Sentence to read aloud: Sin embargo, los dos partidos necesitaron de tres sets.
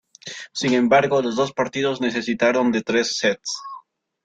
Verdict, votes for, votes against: accepted, 2, 0